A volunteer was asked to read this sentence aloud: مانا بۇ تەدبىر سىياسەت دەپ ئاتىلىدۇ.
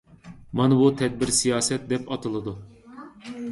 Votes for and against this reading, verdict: 2, 0, accepted